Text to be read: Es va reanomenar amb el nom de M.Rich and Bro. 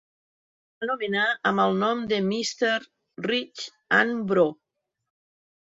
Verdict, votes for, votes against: rejected, 0, 2